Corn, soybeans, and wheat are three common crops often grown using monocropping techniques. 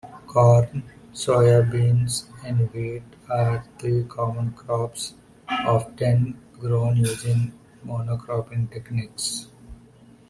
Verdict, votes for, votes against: accepted, 2, 1